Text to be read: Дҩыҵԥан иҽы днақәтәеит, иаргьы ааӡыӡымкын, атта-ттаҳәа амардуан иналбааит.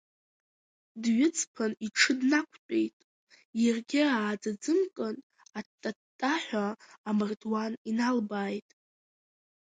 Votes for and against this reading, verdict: 2, 0, accepted